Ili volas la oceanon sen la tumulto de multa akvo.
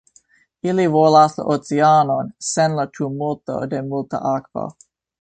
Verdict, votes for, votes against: accepted, 2, 0